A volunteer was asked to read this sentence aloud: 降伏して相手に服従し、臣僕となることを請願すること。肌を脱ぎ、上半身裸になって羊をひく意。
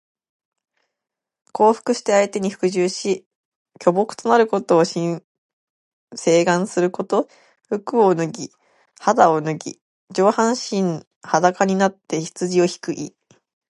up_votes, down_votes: 1, 2